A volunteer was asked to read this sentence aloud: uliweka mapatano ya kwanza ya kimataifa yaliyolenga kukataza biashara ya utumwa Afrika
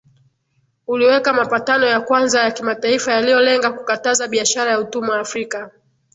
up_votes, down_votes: 0, 2